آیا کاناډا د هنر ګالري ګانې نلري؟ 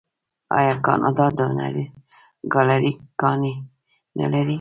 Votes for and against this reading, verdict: 0, 2, rejected